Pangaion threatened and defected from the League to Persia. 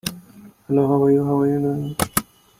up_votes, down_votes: 0, 2